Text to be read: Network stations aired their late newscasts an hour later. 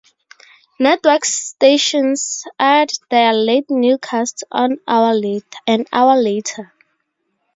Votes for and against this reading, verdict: 0, 2, rejected